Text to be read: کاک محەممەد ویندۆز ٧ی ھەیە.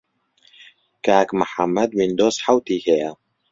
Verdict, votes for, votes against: rejected, 0, 2